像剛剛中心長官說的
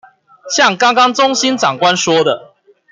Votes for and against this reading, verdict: 2, 0, accepted